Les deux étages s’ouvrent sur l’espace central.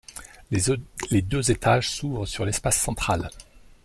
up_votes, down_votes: 1, 2